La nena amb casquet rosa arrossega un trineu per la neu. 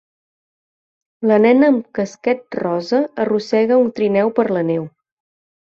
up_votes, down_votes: 5, 0